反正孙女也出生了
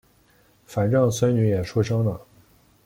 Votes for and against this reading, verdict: 2, 0, accepted